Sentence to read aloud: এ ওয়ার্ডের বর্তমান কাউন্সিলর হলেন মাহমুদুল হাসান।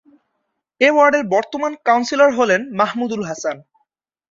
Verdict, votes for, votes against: accepted, 3, 0